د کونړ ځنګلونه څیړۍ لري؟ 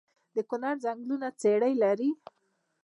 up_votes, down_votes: 2, 0